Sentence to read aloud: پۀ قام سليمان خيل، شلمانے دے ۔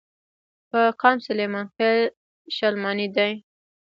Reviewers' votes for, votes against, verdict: 1, 2, rejected